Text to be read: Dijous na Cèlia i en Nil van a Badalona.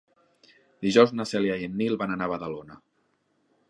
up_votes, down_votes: 0, 2